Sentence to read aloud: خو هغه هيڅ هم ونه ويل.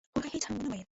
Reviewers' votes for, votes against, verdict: 0, 2, rejected